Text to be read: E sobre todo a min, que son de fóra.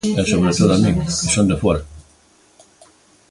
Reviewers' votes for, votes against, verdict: 2, 0, accepted